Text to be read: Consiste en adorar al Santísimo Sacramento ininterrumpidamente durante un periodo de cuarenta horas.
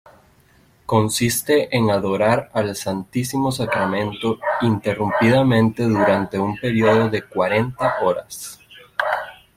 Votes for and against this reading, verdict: 1, 2, rejected